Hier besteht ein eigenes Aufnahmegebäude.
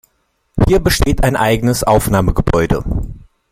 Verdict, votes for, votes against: accepted, 2, 0